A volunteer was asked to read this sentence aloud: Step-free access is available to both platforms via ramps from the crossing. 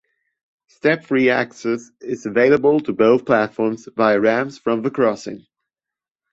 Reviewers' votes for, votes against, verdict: 1, 2, rejected